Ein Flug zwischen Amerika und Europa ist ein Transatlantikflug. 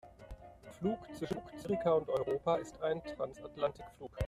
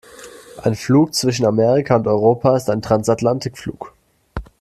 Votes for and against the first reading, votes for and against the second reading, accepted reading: 0, 2, 2, 0, second